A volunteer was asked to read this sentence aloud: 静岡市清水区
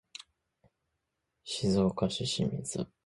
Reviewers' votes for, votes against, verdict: 0, 2, rejected